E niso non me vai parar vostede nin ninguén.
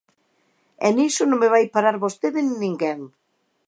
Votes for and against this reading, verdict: 2, 0, accepted